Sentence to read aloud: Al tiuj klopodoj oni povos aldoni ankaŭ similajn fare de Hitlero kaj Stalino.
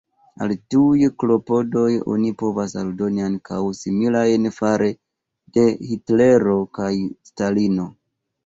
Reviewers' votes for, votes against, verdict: 2, 1, accepted